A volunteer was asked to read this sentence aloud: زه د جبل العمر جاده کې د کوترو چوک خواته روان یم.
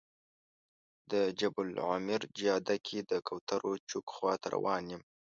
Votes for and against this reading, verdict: 0, 2, rejected